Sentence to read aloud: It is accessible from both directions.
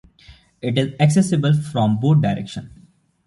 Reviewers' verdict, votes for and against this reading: accepted, 2, 0